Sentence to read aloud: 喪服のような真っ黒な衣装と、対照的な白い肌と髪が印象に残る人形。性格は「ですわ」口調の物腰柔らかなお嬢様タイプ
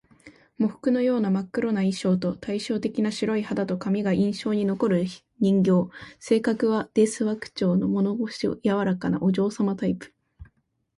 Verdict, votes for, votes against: accepted, 2, 1